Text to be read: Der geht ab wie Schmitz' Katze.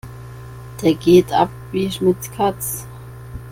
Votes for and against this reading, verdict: 1, 2, rejected